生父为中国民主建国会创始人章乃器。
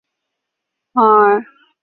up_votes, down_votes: 0, 2